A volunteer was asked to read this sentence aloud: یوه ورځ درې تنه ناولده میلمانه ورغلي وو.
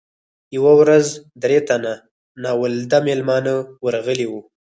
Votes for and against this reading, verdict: 2, 4, rejected